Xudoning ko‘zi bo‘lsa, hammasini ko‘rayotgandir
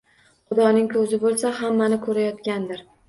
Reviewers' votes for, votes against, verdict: 0, 2, rejected